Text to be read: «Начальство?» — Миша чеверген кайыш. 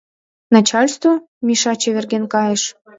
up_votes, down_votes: 2, 0